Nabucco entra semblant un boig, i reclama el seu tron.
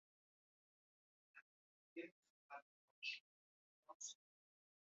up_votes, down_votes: 0, 4